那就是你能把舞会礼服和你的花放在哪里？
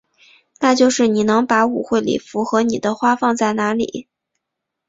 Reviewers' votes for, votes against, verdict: 4, 1, accepted